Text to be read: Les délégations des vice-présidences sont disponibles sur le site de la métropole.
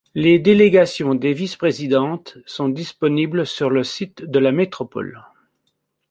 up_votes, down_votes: 1, 2